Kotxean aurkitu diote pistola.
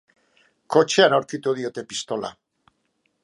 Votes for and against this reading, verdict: 2, 0, accepted